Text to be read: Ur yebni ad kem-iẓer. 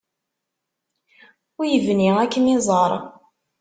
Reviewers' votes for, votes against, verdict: 2, 1, accepted